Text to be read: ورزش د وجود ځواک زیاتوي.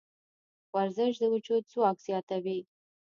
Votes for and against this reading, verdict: 1, 2, rejected